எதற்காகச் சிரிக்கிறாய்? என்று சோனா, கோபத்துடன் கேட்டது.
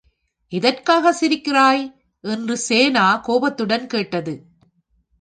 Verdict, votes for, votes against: rejected, 1, 2